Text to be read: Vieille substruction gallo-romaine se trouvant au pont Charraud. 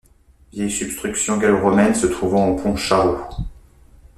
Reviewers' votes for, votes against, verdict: 2, 0, accepted